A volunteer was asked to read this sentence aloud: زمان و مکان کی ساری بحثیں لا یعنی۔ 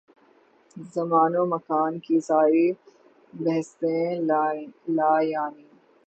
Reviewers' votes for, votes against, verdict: 21, 9, accepted